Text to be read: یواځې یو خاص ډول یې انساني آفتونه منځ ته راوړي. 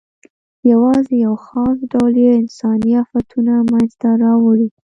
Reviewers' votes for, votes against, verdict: 2, 0, accepted